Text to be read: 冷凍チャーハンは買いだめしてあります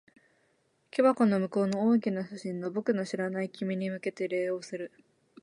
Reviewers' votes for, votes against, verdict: 0, 2, rejected